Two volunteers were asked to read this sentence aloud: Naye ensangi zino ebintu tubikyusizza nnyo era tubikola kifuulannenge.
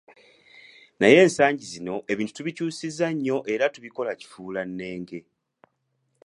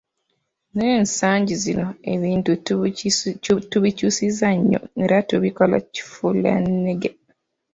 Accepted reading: first